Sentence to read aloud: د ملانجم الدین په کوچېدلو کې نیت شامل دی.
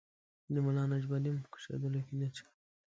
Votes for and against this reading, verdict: 1, 2, rejected